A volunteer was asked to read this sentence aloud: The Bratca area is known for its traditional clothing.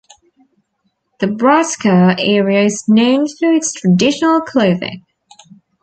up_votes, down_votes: 1, 2